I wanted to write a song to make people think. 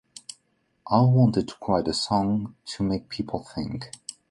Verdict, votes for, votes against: accepted, 2, 1